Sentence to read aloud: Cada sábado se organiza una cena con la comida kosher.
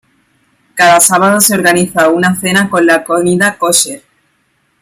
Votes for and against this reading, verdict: 2, 1, accepted